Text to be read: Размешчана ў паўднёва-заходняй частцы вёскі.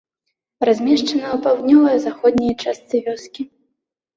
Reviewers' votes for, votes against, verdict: 0, 2, rejected